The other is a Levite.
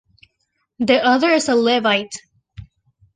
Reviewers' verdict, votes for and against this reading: accepted, 2, 0